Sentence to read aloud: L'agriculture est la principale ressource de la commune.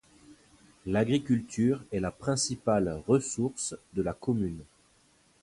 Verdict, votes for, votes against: accepted, 2, 0